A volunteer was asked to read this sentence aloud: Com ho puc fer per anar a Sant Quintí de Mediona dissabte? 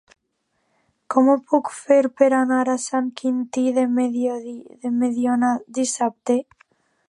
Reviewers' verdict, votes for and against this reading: rejected, 0, 2